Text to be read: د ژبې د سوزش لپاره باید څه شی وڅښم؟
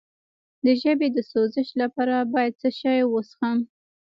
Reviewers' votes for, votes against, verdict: 1, 2, rejected